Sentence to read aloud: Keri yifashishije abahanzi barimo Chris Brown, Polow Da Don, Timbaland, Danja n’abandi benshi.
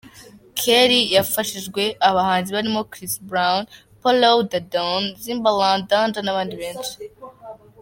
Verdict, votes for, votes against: rejected, 1, 2